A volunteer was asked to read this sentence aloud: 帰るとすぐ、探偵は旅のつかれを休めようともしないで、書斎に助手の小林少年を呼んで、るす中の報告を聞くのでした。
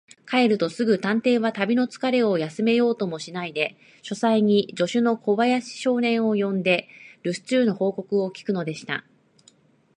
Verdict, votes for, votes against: accepted, 2, 0